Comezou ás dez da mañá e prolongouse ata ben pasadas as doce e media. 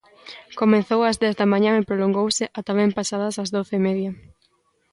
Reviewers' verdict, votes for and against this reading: rejected, 1, 2